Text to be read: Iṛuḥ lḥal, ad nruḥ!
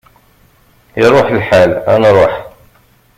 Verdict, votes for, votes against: accepted, 2, 0